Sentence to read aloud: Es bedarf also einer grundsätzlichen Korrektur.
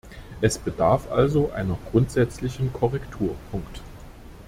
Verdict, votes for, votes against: rejected, 0, 2